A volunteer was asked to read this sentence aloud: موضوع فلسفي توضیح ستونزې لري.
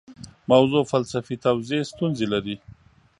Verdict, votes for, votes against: accepted, 2, 0